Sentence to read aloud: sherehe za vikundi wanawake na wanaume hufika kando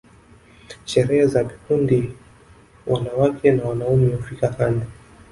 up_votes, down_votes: 1, 2